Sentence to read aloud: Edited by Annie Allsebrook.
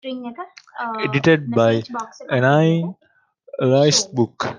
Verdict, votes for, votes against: rejected, 0, 2